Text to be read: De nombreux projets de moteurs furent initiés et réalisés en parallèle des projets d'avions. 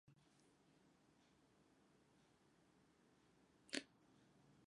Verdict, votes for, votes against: rejected, 0, 2